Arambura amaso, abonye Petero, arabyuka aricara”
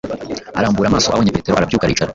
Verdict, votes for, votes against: rejected, 1, 2